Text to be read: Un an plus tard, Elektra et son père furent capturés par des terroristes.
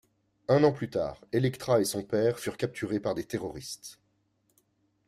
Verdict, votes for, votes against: accepted, 3, 0